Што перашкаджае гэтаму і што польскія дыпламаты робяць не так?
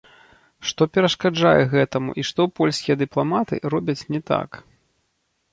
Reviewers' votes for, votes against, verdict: 0, 2, rejected